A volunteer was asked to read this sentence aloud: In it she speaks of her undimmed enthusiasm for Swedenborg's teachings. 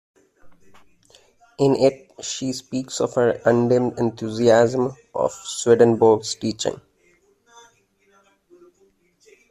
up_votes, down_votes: 0, 2